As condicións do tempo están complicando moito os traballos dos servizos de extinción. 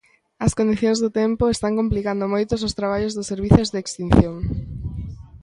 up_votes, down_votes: 2, 1